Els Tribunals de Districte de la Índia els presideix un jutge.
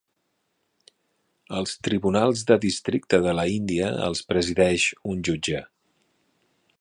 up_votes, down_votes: 3, 0